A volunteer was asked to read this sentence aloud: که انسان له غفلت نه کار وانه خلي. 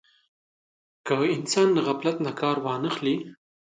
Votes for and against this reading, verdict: 2, 0, accepted